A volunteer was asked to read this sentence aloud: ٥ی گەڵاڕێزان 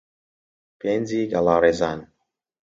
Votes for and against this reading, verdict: 0, 2, rejected